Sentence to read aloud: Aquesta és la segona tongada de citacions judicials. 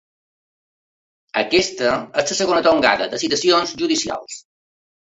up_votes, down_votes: 3, 1